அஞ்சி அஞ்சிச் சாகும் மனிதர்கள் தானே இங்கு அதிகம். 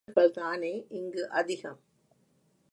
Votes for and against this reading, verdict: 2, 5, rejected